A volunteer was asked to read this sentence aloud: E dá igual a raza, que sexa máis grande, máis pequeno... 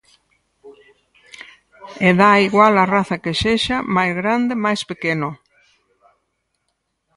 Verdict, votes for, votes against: accepted, 4, 2